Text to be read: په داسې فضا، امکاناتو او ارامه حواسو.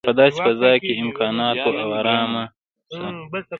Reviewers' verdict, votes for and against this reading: rejected, 0, 2